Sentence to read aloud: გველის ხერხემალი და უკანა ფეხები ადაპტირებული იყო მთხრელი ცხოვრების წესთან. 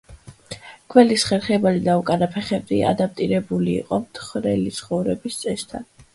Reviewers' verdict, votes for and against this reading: accepted, 2, 0